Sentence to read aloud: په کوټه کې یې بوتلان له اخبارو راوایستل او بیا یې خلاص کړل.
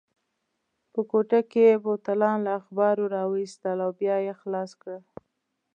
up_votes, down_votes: 2, 0